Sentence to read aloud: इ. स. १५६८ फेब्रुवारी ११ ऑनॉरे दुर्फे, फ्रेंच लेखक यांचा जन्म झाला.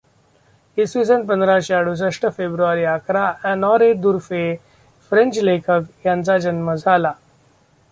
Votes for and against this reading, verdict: 0, 2, rejected